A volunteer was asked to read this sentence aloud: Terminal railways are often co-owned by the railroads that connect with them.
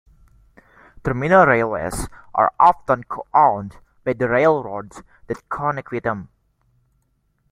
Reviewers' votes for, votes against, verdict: 1, 2, rejected